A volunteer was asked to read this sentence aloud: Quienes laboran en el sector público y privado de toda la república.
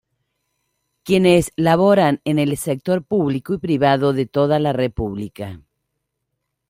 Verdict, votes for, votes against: accepted, 2, 0